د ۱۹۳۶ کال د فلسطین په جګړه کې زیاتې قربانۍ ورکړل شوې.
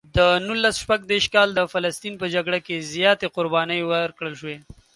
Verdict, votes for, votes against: rejected, 0, 2